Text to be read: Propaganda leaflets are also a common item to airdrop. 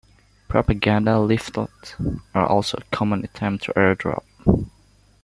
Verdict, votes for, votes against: accepted, 2, 1